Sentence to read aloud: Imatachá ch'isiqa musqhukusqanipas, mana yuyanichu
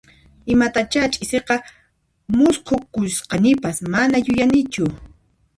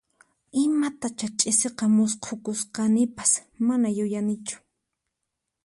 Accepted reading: second